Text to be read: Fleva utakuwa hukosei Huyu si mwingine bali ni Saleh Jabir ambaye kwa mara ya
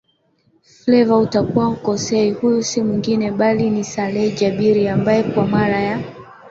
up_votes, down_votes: 2, 0